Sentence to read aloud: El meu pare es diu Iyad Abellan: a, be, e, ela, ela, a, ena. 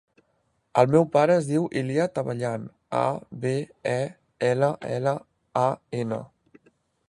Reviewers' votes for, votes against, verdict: 0, 2, rejected